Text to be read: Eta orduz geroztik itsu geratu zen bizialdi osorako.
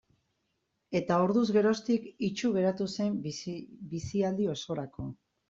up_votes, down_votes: 0, 2